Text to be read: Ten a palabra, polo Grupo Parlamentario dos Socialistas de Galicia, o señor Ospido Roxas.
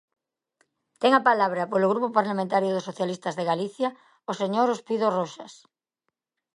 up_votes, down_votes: 2, 0